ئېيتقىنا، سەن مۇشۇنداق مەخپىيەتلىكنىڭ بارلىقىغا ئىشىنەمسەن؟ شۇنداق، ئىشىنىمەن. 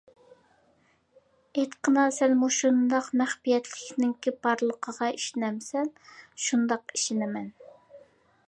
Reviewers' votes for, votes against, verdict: 0, 2, rejected